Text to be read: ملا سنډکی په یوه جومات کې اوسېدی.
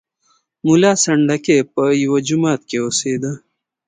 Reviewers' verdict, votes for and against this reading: accepted, 2, 0